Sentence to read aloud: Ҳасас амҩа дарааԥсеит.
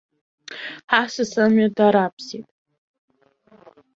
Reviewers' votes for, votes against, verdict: 1, 2, rejected